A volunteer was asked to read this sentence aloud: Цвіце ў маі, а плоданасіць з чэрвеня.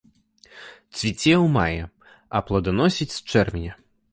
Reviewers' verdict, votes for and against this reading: accepted, 2, 0